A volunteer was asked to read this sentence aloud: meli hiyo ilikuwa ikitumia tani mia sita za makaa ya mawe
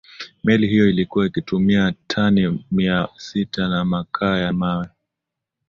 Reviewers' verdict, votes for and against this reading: rejected, 1, 2